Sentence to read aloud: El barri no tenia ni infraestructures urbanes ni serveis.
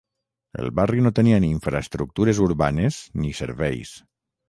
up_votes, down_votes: 6, 0